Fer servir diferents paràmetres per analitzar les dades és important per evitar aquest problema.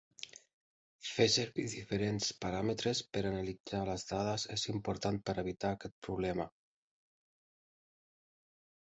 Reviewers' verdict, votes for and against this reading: accepted, 7, 0